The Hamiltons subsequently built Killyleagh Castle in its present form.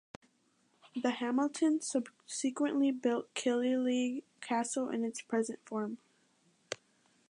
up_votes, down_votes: 2, 0